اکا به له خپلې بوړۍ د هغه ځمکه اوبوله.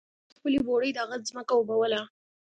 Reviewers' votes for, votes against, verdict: 1, 2, rejected